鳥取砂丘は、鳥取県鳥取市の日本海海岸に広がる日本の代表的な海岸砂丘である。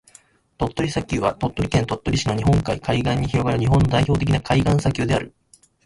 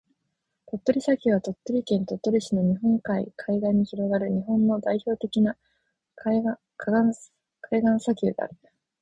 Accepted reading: second